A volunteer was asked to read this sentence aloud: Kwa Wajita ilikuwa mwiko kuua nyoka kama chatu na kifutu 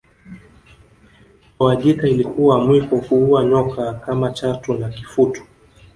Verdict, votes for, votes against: rejected, 0, 2